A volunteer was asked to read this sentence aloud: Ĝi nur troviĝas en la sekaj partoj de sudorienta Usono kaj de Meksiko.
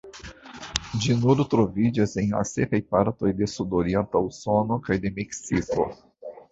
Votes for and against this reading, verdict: 0, 2, rejected